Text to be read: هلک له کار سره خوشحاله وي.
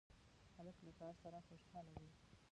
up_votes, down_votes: 0, 2